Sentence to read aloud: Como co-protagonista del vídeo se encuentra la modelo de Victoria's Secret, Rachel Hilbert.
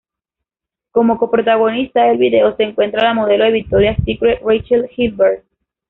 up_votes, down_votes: 0, 2